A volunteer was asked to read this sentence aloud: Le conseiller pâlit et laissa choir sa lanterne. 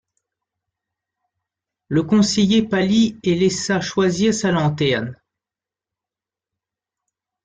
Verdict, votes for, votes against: rejected, 1, 2